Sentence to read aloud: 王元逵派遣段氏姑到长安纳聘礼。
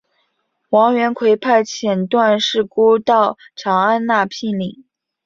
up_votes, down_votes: 3, 0